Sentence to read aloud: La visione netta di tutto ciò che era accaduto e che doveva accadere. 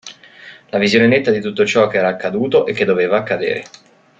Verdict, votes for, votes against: accepted, 2, 1